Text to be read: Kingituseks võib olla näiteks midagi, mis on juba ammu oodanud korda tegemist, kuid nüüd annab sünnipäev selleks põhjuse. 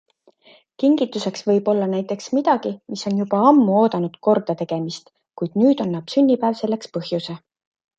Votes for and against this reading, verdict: 2, 0, accepted